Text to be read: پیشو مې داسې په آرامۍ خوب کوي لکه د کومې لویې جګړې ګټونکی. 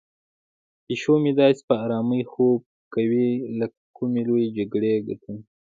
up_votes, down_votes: 1, 2